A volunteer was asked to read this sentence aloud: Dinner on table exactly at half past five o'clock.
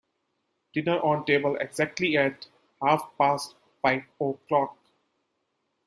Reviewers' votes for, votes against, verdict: 2, 0, accepted